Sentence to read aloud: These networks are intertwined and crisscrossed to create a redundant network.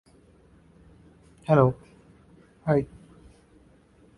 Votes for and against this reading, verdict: 0, 2, rejected